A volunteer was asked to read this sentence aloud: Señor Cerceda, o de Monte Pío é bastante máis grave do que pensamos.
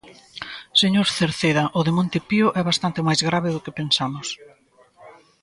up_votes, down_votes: 2, 0